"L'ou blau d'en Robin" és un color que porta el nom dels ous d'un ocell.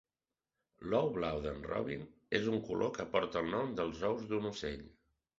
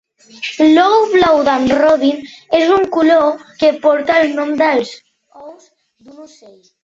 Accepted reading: first